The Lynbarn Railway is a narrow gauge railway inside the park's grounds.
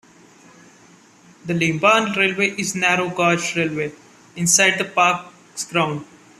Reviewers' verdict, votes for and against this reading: rejected, 1, 2